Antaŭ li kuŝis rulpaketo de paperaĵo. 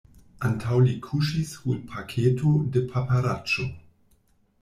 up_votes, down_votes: 0, 2